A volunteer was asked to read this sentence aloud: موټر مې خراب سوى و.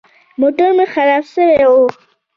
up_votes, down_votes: 2, 0